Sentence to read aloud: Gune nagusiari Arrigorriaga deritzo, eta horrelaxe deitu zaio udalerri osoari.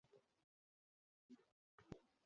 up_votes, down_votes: 0, 4